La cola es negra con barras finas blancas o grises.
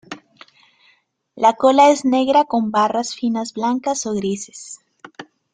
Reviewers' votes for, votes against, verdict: 2, 0, accepted